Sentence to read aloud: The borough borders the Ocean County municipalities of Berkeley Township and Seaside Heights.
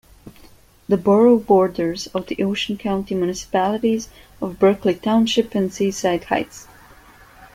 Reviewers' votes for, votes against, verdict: 1, 2, rejected